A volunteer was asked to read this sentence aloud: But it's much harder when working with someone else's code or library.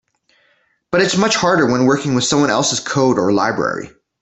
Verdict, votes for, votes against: accepted, 2, 0